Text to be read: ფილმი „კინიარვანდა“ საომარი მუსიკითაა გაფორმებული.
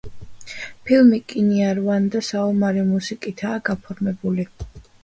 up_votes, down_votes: 3, 1